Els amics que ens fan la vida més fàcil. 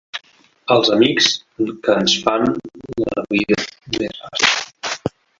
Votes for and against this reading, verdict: 0, 2, rejected